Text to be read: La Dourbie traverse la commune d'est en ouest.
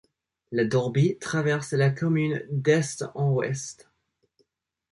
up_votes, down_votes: 2, 0